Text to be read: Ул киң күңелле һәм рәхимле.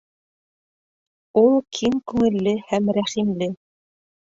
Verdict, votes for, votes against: rejected, 0, 2